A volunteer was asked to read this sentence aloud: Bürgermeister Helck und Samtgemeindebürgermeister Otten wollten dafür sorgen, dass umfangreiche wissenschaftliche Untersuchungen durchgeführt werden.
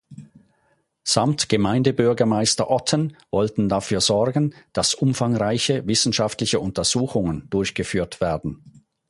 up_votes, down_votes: 0, 4